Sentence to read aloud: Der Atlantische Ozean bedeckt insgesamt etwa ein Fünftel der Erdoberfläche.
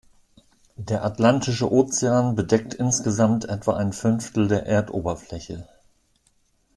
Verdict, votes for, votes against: accepted, 2, 0